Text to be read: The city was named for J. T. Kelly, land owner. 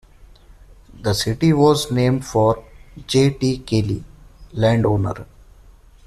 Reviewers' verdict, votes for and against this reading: rejected, 0, 2